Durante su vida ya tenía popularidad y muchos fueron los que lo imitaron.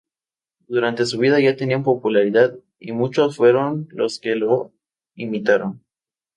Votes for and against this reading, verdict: 2, 0, accepted